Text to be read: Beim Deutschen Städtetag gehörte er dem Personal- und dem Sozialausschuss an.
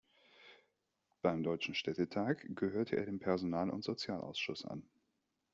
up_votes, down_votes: 0, 2